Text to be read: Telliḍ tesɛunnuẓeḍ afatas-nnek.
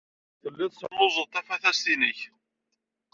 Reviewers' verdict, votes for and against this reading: rejected, 0, 2